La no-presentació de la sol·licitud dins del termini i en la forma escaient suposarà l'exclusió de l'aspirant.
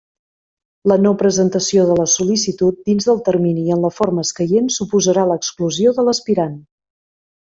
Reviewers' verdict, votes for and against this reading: accepted, 2, 0